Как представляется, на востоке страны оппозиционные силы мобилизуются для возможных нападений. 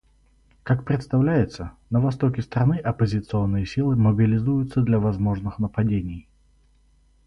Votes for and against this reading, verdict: 4, 0, accepted